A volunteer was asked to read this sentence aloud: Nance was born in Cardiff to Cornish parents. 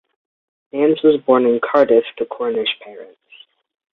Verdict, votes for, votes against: accepted, 2, 0